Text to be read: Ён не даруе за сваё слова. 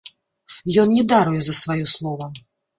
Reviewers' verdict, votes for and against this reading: rejected, 0, 2